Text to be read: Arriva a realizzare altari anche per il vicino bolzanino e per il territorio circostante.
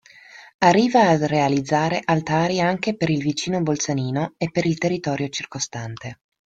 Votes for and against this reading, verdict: 1, 2, rejected